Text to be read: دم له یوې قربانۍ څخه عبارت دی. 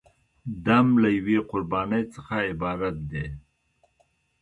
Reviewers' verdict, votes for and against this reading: accepted, 2, 0